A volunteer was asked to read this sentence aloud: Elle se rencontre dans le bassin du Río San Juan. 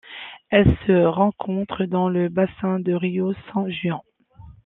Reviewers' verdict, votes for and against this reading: accepted, 2, 1